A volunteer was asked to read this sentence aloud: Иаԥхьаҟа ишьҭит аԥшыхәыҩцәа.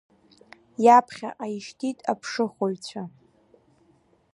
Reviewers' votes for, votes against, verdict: 5, 0, accepted